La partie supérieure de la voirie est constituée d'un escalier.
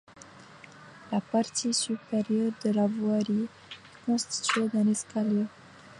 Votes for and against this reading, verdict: 1, 2, rejected